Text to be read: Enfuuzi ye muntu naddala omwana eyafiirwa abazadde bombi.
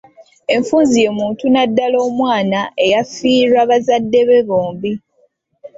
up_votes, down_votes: 1, 2